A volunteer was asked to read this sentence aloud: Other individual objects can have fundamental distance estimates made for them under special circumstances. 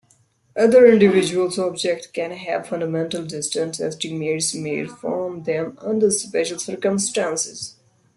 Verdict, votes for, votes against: rejected, 0, 2